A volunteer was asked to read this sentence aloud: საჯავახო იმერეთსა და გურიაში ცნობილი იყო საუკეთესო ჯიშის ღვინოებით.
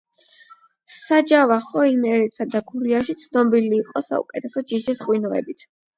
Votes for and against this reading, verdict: 8, 0, accepted